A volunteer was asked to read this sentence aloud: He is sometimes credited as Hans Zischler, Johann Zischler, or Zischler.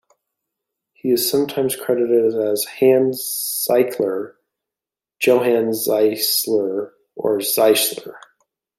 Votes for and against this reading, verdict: 1, 2, rejected